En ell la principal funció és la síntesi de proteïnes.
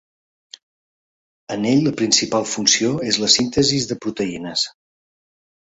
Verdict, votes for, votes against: rejected, 1, 2